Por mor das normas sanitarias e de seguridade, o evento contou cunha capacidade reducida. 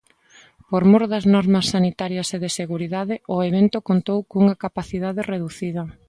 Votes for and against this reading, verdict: 2, 0, accepted